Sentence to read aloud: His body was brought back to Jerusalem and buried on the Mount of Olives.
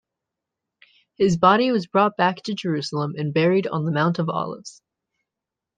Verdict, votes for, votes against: accepted, 2, 0